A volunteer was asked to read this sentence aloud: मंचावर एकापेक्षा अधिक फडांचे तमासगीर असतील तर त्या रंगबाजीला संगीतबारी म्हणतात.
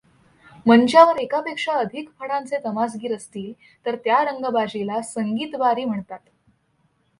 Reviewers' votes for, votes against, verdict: 2, 0, accepted